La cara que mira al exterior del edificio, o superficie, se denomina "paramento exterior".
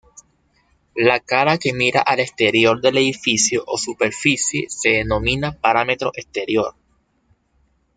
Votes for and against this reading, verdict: 1, 2, rejected